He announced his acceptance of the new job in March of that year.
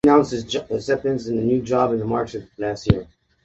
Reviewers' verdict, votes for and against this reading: rejected, 1, 2